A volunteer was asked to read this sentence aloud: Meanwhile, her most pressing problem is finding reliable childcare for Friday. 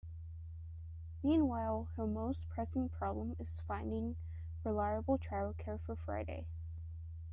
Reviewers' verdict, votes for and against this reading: rejected, 1, 2